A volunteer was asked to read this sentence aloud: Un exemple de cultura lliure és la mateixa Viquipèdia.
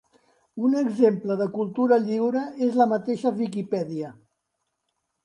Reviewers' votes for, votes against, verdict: 2, 0, accepted